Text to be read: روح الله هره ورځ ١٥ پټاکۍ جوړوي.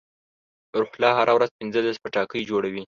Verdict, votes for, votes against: rejected, 0, 2